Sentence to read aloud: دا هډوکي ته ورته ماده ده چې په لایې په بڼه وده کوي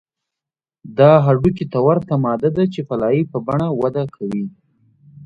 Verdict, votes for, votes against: accepted, 2, 0